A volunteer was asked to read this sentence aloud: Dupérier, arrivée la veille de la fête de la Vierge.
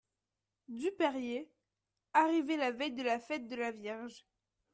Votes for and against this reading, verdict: 2, 0, accepted